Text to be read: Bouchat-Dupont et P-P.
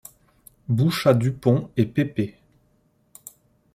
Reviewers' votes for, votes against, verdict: 2, 0, accepted